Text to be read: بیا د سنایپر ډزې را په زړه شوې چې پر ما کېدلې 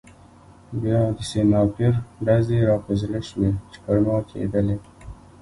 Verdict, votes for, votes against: accepted, 2, 1